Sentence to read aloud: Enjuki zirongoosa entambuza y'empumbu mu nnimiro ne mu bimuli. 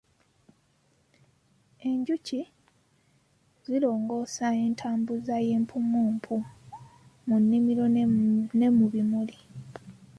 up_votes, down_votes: 0, 2